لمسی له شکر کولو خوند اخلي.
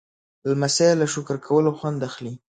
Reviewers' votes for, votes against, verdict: 2, 0, accepted